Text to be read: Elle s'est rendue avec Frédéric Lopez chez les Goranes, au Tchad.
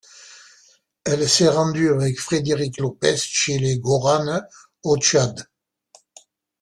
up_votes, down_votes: 2, 0